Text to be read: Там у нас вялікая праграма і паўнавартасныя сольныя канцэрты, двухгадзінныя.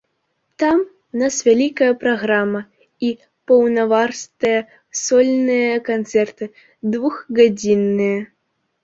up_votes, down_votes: 1, 2